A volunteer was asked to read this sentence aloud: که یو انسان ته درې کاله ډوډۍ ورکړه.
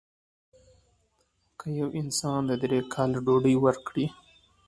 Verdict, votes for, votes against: accepted, 2, 1